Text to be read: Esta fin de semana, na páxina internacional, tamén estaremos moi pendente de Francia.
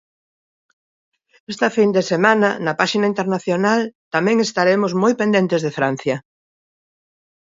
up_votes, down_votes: 2, 1